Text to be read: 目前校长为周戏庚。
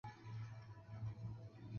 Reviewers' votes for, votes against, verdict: 1, 4, rejected